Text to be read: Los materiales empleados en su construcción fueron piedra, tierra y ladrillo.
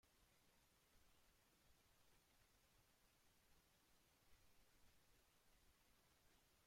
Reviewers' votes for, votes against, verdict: 1, 2, rejected